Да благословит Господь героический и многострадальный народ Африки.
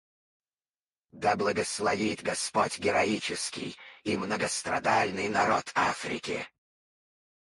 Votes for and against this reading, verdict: 2, 4, rejected